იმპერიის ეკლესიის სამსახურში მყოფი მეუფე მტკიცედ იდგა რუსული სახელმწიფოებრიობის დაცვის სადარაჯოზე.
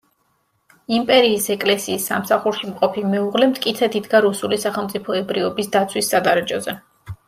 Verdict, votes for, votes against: rejected, 1, 2